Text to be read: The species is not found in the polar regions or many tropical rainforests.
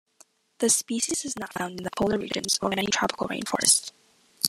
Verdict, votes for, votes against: rejected, 0, 2